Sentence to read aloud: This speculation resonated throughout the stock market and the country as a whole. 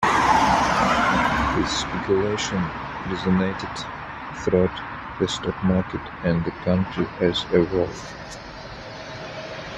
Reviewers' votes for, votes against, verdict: 3, 0, accepted